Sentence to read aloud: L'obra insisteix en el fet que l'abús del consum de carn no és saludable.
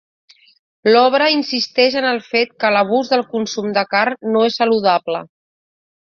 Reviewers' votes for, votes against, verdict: 3, 0, accepted